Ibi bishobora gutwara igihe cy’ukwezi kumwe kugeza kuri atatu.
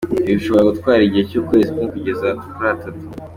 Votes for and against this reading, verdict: 2, 1, accepted